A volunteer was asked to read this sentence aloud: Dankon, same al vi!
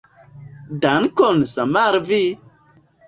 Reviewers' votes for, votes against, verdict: 1, 2, rejected